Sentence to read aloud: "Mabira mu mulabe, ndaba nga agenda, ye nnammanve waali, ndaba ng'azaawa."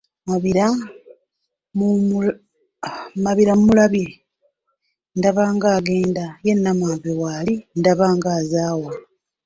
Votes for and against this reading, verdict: 0, 2, rejected